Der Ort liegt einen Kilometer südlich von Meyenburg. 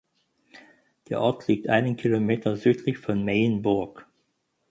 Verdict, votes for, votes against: accepted, 10, 2